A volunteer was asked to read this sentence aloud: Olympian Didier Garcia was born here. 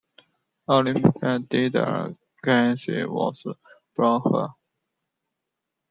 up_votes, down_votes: 0, 2